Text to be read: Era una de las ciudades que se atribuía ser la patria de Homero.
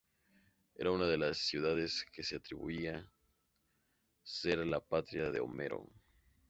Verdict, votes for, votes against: accepted, 2, 0